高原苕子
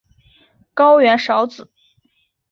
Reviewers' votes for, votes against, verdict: 3, 0, accepted